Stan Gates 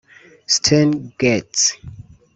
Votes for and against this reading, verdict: 1, 2, rejected